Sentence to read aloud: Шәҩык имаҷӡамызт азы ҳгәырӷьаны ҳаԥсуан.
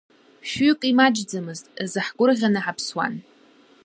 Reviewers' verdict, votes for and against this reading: accepted, 2, 1